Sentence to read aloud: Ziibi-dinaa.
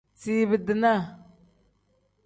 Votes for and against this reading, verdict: 2, 0, accepted